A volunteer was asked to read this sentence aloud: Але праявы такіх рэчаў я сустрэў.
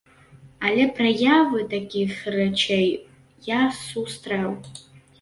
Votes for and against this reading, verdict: 1, 2, rejected